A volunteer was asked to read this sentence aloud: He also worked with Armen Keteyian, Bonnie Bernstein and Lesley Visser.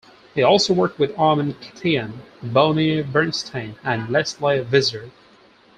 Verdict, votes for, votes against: accepted, 4, 0